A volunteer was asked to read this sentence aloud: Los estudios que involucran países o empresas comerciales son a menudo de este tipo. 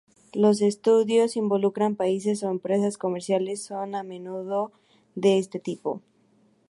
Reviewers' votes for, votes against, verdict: 0, 2, rejected